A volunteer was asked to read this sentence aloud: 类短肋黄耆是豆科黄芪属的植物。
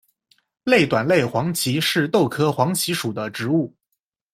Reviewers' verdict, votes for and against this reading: accepted, 2, 0